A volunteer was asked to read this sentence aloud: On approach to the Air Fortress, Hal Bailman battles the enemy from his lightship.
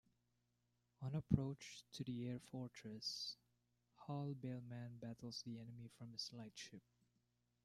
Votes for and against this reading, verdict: 1, 2, rejected